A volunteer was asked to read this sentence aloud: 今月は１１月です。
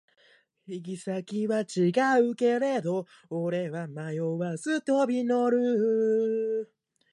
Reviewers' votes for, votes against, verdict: 0, 2, rejected